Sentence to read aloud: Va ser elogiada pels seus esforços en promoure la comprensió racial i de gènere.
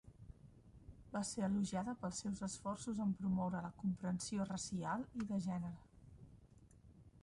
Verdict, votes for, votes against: rejected, 1, 2